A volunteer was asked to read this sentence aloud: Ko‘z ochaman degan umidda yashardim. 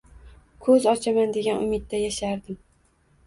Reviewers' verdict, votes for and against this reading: rejected, 1, 2